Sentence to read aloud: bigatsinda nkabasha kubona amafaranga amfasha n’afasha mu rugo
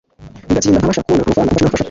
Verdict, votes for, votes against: rejected, 1, 2